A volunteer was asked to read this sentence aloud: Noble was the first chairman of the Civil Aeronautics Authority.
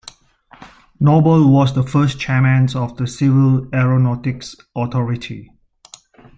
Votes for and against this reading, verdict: 1, 2, rejected